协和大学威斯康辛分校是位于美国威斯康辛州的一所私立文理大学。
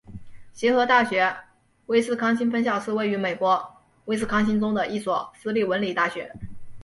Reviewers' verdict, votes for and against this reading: accepted, 2, 0